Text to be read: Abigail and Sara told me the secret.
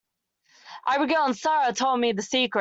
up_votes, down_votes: 0, 2